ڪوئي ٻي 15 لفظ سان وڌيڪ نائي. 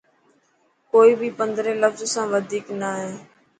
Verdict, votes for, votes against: rejected, 0, 2